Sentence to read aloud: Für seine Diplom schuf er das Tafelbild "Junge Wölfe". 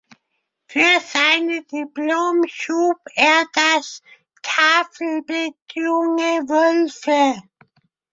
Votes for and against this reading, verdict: 2, 0, accepted